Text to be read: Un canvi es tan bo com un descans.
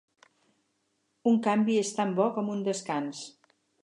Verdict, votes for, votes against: accepted, 8, 0